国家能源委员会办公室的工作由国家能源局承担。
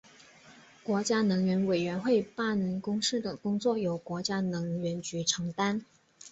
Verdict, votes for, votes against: accepted, 2, 0